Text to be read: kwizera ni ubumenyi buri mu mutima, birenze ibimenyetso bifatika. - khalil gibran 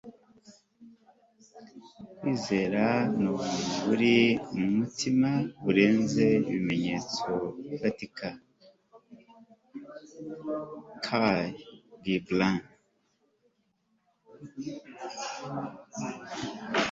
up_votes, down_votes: 0, 2